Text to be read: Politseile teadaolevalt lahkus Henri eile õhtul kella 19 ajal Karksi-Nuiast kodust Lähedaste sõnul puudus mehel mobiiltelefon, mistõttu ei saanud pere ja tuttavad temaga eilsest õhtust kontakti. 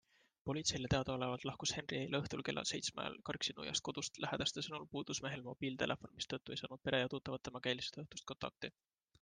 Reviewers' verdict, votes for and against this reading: rejected, 0, 2